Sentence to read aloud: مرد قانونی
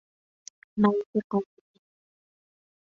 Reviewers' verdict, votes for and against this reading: rejected, 0, 2